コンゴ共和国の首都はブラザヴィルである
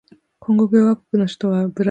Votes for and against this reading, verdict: 0, 4, rejected